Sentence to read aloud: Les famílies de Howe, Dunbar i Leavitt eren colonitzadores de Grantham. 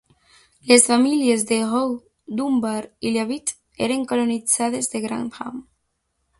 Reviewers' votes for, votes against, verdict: 1, 2, rejected